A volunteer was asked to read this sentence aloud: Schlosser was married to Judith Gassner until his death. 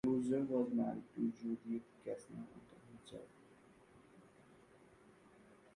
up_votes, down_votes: 0, 2